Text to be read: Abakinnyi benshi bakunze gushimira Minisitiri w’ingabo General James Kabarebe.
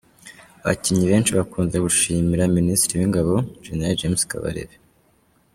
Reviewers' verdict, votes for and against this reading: accepted, 2, 1